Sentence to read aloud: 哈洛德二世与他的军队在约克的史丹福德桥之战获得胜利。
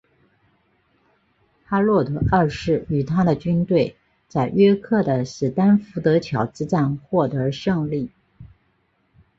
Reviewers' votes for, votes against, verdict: 6, 0, accepted